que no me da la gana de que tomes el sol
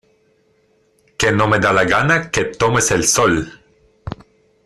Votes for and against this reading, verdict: 1, 2, rejected